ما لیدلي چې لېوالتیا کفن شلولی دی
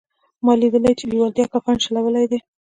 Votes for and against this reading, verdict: 3, 1, accepted